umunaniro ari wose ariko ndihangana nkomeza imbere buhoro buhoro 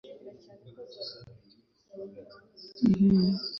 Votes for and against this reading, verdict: 0, 2, rejected